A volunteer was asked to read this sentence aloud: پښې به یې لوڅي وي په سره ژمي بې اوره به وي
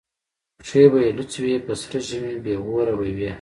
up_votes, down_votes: 0, 2